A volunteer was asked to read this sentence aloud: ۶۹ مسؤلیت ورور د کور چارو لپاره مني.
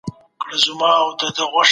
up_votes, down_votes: 0, 2